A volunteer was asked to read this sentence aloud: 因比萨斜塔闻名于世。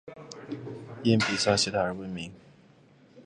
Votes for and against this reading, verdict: 2, 3, rejected